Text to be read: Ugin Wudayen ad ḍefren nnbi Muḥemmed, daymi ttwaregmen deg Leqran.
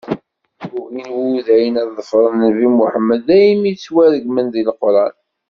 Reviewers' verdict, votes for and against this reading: accepted, 2, 0